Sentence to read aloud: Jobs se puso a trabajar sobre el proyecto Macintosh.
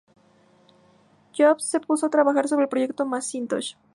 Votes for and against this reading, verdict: 2, 0, accepted